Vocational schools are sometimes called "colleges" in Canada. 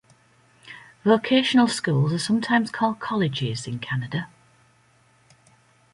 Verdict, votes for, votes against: accepted, 2, 0